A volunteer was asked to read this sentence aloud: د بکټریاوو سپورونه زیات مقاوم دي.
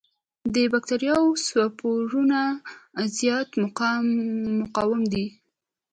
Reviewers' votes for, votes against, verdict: 2, 0, accepted